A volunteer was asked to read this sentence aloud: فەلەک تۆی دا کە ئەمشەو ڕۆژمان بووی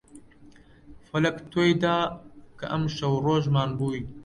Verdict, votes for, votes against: accepted, 2, 0